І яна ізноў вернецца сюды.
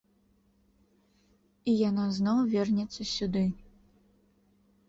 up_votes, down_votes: 0, 2